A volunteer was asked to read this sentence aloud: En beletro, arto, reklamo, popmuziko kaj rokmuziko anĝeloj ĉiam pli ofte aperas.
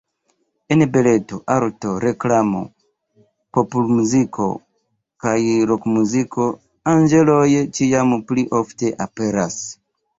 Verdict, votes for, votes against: rejected, 1, 2